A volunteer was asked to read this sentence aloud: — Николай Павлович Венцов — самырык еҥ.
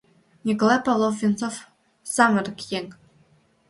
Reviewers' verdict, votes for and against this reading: rejected, 1, 2